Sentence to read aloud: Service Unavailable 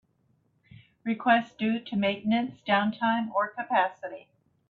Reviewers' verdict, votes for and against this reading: rejected, 0, 2